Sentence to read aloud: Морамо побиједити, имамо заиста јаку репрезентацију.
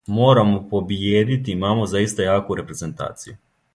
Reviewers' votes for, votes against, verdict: 2, 0, accepted